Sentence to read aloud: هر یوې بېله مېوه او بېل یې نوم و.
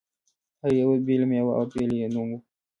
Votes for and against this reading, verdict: 2, 0, accepted